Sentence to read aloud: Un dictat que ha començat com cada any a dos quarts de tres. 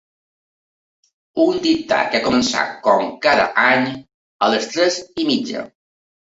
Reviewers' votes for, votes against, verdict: 0, 2, rejected